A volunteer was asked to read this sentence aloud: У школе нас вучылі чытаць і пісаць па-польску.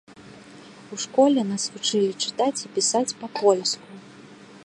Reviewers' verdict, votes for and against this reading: accepted, 2, 0